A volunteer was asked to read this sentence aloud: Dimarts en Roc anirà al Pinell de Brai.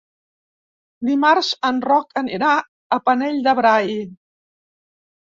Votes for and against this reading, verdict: 0, 2, rejected